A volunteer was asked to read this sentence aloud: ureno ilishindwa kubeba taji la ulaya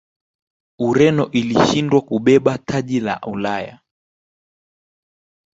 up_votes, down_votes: 2, 0